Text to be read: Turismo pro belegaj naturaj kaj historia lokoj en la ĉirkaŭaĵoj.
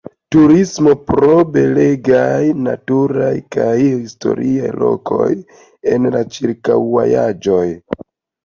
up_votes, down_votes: 2, 0